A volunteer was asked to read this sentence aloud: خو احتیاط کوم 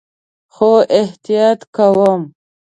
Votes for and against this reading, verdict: 2, 0, accepted